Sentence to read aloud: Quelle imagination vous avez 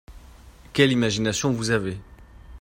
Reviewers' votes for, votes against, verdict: 2, 0, accepted